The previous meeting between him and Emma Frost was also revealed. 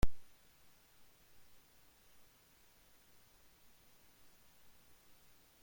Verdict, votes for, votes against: rejected, 0, 2